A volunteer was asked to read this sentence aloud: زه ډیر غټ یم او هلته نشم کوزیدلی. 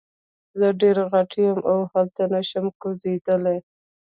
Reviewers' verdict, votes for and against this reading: rejected, 1, 2